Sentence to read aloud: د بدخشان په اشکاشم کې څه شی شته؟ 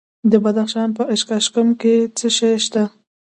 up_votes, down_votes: 0, 2